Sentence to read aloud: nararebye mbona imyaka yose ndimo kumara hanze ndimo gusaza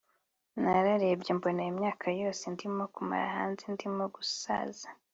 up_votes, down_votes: 2, 0